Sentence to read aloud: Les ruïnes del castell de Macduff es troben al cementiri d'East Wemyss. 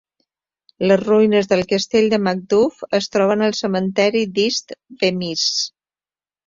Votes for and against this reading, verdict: 2, 1, accepted